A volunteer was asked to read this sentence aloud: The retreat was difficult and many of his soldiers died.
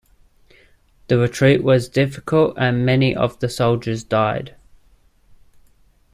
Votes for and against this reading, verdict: 1, 2, rejected